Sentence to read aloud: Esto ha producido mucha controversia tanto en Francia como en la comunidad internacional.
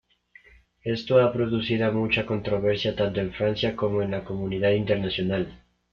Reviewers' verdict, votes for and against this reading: rejected, 1, 2